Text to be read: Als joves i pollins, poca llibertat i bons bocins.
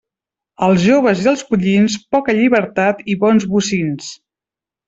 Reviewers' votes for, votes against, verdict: 0, 2, rejected